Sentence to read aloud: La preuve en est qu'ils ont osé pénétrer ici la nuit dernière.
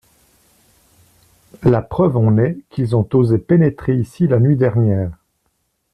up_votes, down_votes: 2, 0